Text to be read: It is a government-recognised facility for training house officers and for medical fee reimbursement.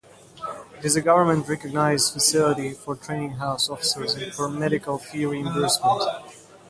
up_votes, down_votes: 0, 2